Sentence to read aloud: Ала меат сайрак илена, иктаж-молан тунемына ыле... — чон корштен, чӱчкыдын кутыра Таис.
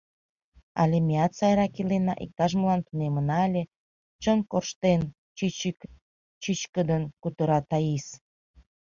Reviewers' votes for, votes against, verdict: 0, 2, rejected